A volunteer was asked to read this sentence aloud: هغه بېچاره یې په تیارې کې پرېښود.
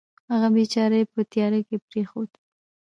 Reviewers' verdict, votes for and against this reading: accepted, 2, 0